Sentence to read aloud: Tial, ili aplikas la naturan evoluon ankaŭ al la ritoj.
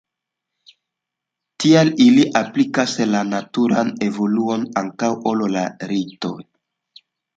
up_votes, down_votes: 1, 2